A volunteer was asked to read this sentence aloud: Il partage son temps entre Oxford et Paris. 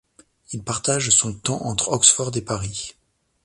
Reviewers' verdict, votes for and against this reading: accepted, 2, 0